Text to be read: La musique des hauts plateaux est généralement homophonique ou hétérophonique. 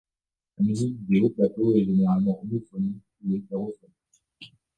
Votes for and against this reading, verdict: 0, 2, rejected